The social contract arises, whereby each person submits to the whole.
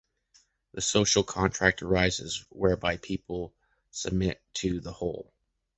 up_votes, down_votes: 0, 2